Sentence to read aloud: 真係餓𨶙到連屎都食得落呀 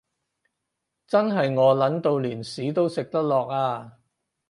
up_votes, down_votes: 4, 0